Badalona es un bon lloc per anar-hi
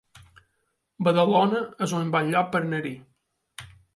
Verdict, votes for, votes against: accepted, 2, 1